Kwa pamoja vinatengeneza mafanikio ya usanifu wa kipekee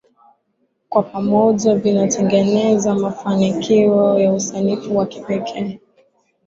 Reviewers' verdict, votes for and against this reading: accepted, 12, 3